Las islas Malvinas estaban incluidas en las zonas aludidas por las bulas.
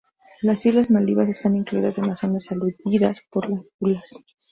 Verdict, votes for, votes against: rejected, 0, 4